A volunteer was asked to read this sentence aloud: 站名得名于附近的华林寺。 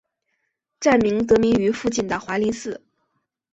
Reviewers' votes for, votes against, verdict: 2, 0, accepted